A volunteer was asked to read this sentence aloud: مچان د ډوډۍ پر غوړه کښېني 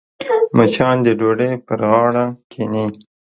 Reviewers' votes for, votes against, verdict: 1, 3, rejected